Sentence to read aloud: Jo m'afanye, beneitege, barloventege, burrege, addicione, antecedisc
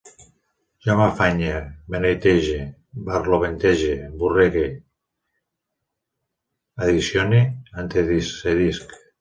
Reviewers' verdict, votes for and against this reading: rejected, 1, 2